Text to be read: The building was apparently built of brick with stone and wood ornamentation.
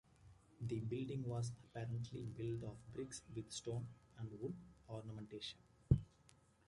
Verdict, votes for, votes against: rejected, 1, 2